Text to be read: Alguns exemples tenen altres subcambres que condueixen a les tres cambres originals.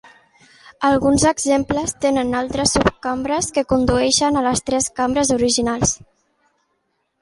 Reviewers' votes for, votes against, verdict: 2, 0, accepted